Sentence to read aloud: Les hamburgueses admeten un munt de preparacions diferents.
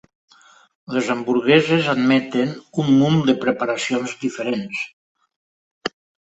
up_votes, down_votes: 3, 0